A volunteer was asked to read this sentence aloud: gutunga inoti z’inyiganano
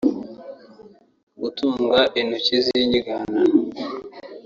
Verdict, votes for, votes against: rejected, 0, 2